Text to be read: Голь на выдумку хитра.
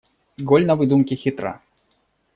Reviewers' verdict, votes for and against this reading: rejected, 1, 2